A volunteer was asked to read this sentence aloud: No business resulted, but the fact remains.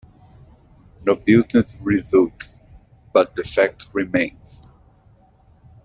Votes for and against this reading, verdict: 0, 2, rejected